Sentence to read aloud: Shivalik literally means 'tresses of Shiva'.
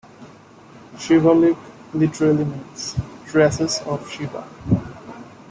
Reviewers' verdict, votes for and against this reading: accepted, 2, 1